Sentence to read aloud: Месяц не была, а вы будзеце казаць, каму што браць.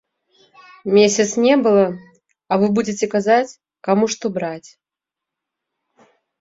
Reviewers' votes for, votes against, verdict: 1, 2, rejected